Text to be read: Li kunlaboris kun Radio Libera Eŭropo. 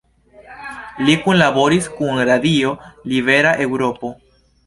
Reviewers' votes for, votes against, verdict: 1, 2, rejected